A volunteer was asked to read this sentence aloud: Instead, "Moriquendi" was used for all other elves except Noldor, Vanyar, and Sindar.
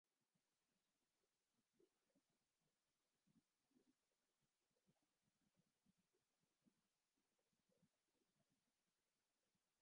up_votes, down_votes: 0, 2